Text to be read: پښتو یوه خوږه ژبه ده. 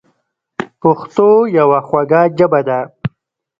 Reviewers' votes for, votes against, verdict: 1, 2, rejected